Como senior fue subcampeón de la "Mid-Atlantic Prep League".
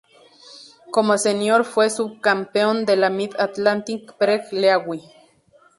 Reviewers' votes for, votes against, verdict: 0, 6, rejected